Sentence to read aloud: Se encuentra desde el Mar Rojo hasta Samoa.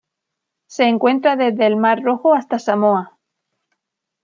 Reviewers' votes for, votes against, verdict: 2, 0, accepted